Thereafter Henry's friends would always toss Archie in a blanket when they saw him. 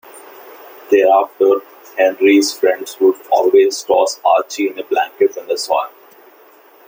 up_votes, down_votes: 2, 1